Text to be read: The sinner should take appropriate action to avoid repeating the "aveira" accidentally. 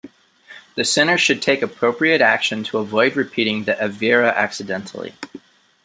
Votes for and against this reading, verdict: 2, 0, accepted